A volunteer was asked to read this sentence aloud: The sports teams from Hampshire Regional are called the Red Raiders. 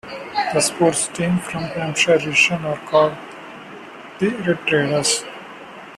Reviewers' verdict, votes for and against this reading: rejected, 0, 2